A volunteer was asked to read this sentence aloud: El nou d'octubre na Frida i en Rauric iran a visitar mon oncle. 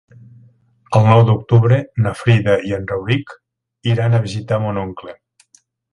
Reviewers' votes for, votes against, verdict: 3, 1, accepted